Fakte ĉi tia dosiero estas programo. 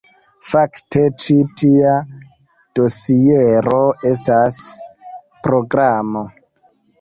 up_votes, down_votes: 0, 2